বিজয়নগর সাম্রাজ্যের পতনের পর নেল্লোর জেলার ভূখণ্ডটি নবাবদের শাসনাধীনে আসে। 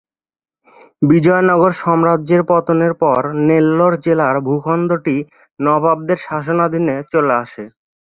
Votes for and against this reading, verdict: 0, 3, rejected